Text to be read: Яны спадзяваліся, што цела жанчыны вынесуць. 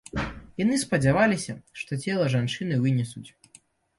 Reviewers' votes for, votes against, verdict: 2, 0, accepted